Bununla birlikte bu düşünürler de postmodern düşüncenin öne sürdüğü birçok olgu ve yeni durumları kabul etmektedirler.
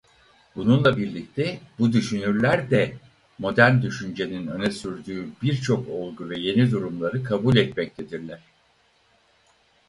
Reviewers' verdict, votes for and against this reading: rejected, 0, 4